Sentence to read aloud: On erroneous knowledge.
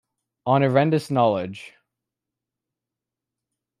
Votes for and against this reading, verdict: 1, 2, rejected